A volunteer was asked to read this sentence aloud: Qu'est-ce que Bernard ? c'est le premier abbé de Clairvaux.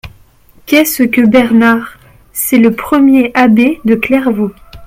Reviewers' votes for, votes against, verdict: 2, 0, accepted